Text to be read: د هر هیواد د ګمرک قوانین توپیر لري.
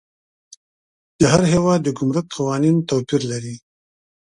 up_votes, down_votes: 2, 0